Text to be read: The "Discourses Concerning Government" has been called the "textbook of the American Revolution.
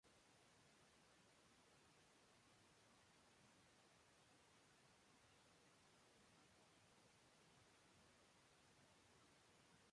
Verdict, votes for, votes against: rejected, 0, 2